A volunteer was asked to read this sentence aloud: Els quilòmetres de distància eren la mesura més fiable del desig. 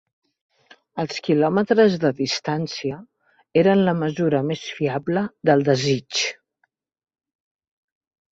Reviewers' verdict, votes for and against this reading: accepted, 3, 0